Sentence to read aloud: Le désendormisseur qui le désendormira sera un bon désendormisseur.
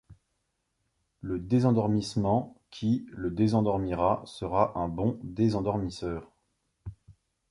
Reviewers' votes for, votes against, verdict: 0, 2, rejected